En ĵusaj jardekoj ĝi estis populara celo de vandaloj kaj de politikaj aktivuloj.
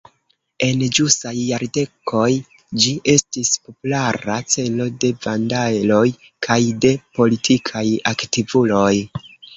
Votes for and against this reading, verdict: 1, 2, rejected